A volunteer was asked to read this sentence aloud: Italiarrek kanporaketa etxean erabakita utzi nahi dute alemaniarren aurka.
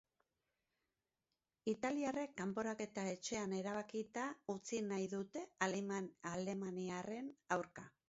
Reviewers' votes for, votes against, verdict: 0, 2, rejected